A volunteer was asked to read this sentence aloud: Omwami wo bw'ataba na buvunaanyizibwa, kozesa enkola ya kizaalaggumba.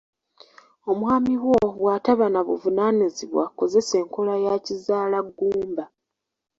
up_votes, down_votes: 1, 2